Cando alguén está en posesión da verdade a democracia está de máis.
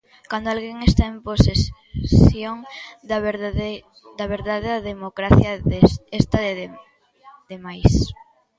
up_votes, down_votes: 0, 2